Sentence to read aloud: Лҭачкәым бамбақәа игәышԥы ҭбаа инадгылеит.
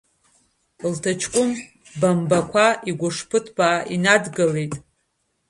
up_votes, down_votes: 2, 1